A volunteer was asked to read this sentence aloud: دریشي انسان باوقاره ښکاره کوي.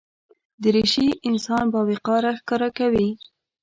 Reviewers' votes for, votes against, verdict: 1, 2, rejected